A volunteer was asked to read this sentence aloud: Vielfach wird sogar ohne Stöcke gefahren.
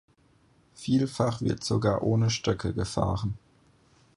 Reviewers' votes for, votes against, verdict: 4, 0, accepted